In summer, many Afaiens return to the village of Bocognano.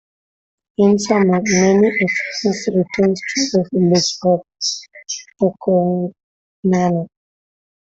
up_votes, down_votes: 0, 2